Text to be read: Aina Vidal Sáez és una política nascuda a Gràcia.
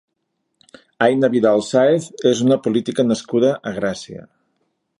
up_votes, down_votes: 3, 0